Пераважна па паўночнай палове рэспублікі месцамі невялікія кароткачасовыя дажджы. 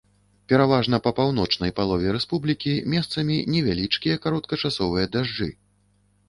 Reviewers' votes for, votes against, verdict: 0, 2, rejected